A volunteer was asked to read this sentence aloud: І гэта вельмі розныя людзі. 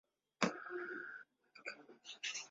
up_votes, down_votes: 0, 2